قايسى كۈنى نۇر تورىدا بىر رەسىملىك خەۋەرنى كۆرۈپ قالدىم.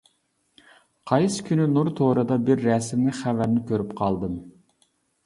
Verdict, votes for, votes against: accepted, 2, 0